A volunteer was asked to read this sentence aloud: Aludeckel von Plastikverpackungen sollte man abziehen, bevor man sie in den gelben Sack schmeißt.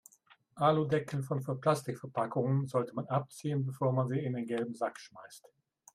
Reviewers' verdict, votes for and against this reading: rejected, 0, 2